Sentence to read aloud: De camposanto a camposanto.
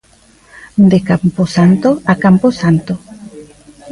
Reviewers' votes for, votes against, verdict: 2, 0, accepted